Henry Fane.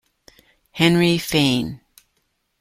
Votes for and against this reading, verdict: 1, 2, rejected